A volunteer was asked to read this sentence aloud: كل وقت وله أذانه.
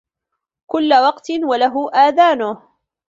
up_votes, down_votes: 2, 1